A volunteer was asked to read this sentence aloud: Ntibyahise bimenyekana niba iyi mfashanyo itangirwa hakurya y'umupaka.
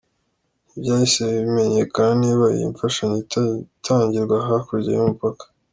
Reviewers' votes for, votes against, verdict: 1, 2, rejected